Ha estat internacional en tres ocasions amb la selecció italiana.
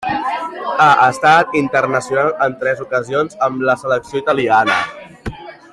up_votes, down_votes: 3, 1